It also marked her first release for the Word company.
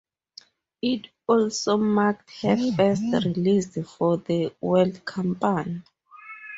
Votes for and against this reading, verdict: 0, 2, rejected